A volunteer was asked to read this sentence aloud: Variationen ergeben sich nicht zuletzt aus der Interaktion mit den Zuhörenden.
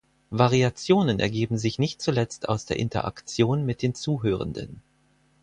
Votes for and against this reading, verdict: 4, 0, accepted